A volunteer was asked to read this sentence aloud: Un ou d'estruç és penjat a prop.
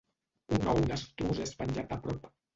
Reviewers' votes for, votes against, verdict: 1, 2, rejected